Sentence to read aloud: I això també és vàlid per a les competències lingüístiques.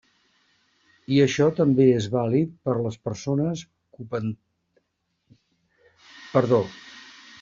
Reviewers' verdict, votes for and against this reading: rejected, 0, 2